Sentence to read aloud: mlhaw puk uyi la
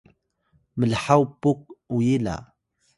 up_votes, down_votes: 2, 0